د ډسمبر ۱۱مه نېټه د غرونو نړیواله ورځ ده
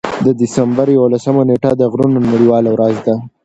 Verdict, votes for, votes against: rejected, 0, 2